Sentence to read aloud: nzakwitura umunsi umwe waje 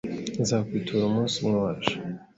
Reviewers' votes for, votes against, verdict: 2, 0, accepted